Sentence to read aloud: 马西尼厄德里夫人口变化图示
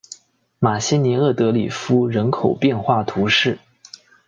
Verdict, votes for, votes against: accepted, 2, 0